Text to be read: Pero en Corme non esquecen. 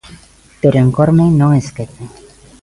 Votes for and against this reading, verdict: 3, 1, accepted